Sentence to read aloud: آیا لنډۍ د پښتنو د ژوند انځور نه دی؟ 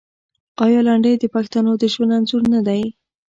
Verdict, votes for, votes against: rejected, 1, 2